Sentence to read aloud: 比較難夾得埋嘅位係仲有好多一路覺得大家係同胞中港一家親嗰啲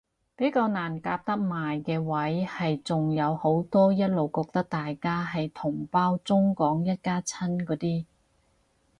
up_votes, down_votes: 6, 0